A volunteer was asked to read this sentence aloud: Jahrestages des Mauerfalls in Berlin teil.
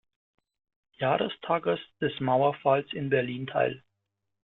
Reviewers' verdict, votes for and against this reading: accepted, 2, 0